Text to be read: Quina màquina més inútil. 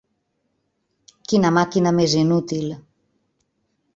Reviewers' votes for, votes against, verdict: 1, 2, rejected